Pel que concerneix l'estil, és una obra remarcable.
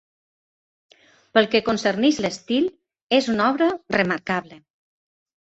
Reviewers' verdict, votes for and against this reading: accepted, 2, 0